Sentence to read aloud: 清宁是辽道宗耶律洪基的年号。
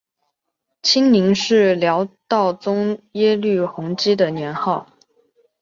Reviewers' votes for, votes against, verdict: 3, 0, accepted